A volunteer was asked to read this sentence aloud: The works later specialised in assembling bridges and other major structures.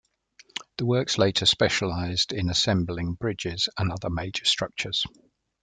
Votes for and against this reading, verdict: 2, 0, accepted